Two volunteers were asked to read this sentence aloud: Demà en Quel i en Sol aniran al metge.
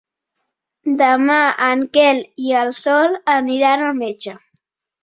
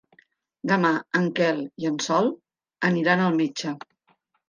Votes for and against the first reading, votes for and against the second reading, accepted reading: 1, 2, 3, 0, second